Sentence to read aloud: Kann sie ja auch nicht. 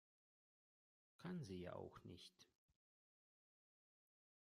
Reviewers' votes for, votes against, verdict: 1, 2, rejected